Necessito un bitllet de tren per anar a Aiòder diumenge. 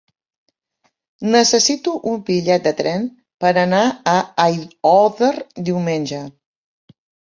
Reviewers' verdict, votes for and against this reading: rejected, 1, 2